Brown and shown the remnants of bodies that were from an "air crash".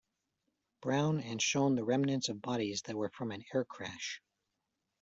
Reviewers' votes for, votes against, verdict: 1, 2, rejected